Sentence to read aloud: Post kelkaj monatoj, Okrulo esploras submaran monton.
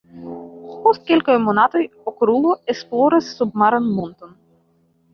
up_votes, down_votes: 1, 2